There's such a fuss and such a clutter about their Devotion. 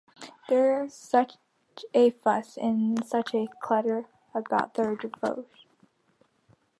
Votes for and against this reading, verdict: 0, 2, rejected